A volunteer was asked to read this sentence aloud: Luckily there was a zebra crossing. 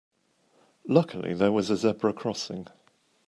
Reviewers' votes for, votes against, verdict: 2, 1, accepted